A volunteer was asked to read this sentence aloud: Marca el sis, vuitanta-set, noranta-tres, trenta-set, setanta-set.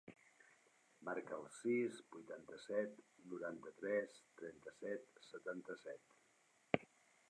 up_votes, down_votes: 1, 2